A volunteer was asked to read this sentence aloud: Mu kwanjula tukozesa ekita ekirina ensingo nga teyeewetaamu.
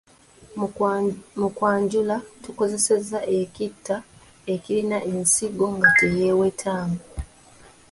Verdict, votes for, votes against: rejected, 0, 2